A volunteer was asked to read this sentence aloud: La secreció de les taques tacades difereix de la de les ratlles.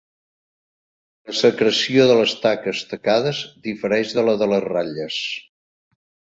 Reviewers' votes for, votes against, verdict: 0, 2, rejected